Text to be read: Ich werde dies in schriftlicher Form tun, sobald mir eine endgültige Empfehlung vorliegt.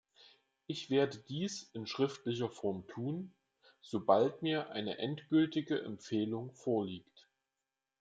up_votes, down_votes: 2, 0